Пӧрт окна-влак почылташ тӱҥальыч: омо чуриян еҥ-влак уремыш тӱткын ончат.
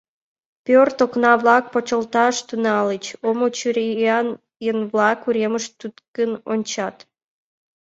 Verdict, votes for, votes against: accepted, 2, 0